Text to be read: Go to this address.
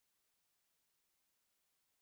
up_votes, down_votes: 0, 2